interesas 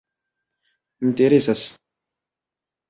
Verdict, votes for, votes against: accepted, 2, 0